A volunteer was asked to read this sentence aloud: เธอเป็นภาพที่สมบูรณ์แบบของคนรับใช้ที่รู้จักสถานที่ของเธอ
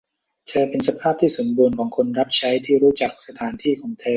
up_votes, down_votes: 0, 2